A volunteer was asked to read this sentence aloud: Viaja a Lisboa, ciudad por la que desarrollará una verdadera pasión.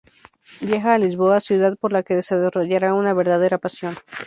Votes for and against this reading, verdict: 0, 4, rejected